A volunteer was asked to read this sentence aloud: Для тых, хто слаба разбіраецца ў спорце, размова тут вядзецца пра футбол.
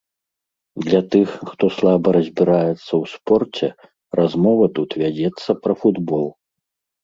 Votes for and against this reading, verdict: 2, 0, accepted